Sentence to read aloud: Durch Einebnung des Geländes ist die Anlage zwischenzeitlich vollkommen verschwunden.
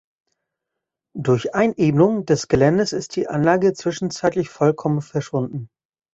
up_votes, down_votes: 2, 0